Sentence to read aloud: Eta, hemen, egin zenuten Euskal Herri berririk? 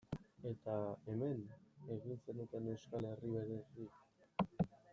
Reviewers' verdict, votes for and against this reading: rejected, 1, 2